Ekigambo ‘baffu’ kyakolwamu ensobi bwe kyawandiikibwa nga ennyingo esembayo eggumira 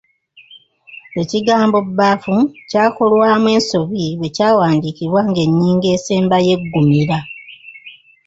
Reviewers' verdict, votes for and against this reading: rejected, 1, 2